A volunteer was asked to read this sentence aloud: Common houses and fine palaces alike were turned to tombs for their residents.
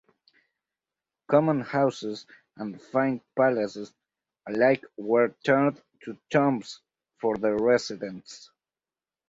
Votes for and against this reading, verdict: 2, 4, rejected